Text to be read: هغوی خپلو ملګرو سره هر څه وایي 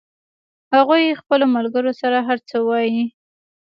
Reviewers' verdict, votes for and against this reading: accepted, 2, 0